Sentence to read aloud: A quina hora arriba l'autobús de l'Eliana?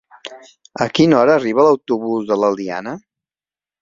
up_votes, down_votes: 2, 0